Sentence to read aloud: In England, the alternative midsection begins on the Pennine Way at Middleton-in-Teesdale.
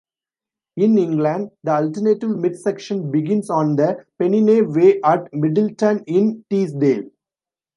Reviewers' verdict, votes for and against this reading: accepted, 2, 0